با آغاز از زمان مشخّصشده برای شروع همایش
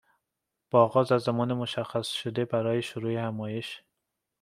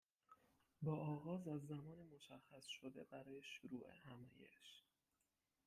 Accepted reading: first